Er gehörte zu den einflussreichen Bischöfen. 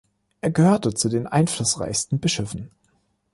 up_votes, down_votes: 1, 2